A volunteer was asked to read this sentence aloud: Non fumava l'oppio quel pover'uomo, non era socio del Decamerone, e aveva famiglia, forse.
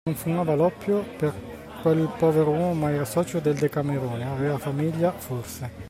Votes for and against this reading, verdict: 0, 2, rejected